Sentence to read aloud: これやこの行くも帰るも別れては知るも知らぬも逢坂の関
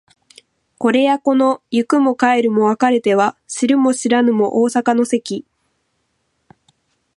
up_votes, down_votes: 0, 2